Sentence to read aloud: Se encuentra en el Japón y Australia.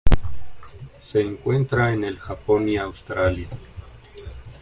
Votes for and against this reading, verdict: 0, 2, rejected